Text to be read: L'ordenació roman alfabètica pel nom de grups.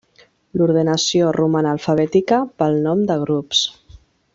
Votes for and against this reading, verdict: 4, 0, accepted